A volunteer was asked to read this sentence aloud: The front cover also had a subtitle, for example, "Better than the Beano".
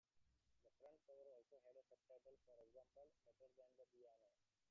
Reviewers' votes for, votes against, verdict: 0, 2, rejected